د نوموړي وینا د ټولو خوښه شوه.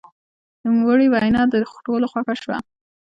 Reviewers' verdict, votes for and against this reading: accepted, 2, 1